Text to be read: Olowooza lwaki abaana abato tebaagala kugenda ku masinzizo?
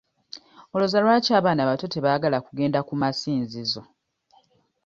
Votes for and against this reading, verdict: 2, 0, accepted